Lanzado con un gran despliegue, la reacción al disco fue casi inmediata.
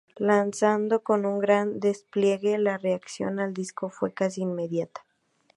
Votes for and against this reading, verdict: 2, 0, accepted